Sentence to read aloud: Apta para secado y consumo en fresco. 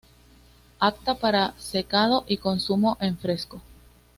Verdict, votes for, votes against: accepted, 2, 0